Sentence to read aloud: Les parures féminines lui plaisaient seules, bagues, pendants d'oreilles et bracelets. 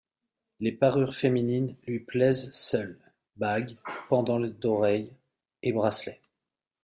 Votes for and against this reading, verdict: 2, 1, accepted